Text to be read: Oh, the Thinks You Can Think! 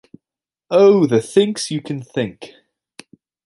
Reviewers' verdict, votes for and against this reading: accepted, 2, 0